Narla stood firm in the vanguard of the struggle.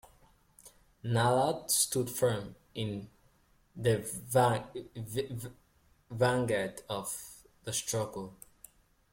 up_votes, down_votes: 0, 2